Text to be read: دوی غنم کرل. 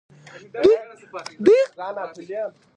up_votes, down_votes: 2, 0